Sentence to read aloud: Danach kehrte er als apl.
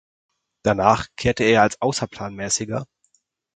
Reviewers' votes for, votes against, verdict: 0, 4, rejected